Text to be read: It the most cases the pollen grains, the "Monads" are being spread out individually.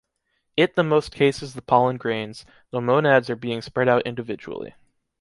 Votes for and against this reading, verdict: 2, 0, accepted